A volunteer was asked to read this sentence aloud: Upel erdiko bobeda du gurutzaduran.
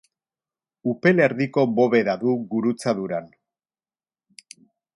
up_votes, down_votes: 0, 2